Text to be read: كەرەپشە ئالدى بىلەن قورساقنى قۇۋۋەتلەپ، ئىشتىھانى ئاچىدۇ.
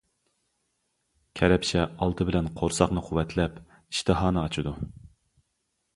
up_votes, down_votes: 2, 0